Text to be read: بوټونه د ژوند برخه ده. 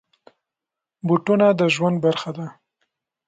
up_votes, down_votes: 2, 0